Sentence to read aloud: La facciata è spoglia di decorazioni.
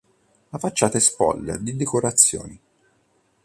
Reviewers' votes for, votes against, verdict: 2, 0, accepted